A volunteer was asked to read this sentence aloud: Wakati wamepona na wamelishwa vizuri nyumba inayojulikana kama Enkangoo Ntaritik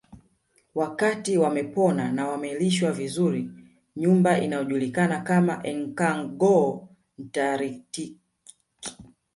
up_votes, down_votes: 0, 2